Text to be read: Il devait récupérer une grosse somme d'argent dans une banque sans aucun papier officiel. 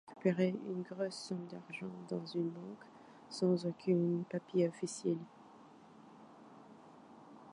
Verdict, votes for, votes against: rejected, 1, 2